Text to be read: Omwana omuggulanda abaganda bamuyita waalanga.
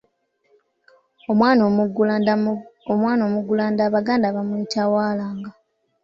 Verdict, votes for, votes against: rejected, 1, 2